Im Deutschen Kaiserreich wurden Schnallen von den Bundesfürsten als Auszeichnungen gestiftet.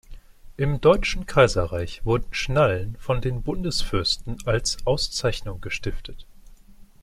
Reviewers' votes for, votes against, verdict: 2, 1, accepted